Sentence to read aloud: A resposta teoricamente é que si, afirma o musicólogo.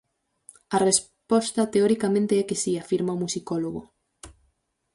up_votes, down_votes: 2, 4